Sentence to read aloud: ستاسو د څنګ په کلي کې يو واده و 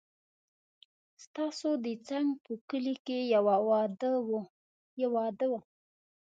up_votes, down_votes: 1, 2